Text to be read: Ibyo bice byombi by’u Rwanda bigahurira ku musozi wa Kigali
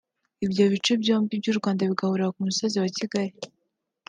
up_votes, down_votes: 0, 2